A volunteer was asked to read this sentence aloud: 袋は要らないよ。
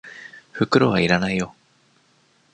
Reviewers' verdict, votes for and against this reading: accepted, 2, 1